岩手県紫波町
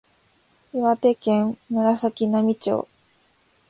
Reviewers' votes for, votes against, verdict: 2, 0, accepted